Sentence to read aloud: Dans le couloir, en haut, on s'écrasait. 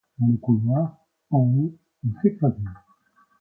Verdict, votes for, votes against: rejected, 1, 2